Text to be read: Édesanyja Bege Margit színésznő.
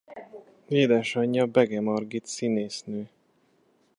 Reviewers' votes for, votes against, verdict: 2, 0, accepted